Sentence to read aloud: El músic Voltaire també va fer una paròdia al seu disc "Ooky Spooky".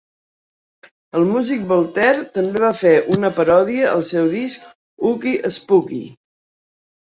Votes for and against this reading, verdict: 2, 0, accepted